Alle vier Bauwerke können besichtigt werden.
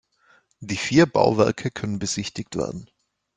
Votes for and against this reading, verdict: 1, 2, rejected